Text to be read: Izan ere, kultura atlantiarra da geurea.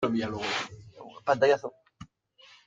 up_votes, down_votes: 0, 2